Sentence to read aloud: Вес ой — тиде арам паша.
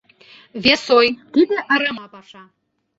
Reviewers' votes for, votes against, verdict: 1, 2, rejected